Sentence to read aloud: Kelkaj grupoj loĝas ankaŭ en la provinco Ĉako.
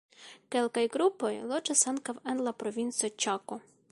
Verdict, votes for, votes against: accepted, 3, 0